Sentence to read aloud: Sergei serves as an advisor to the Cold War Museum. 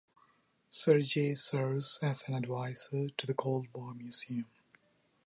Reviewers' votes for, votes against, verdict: 0, 2, rejected